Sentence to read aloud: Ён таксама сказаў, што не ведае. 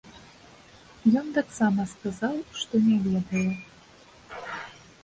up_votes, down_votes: 2, 0